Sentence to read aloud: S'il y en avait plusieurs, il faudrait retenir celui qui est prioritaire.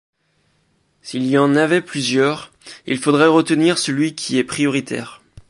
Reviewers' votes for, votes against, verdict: 2, 0, accepted